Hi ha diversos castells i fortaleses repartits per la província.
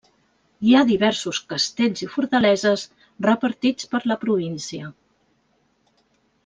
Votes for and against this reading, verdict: 3, 0, accepted